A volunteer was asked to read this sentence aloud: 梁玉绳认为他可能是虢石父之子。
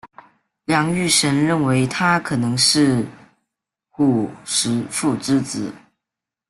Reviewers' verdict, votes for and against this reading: rejected, 0, 2